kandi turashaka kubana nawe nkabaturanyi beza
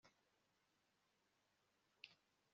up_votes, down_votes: 1, 2